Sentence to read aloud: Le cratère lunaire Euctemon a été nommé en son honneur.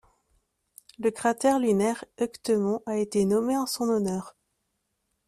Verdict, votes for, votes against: accepted, 2, 0